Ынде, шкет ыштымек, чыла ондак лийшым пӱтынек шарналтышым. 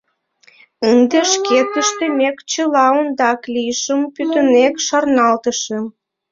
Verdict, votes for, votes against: rejected, 0, 2